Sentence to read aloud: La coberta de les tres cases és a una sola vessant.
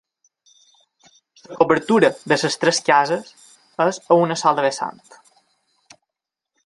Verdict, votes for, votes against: rejected, 0, 2